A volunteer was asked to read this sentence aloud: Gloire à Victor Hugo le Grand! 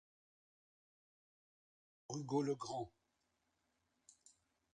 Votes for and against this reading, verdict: 0, 2, rejected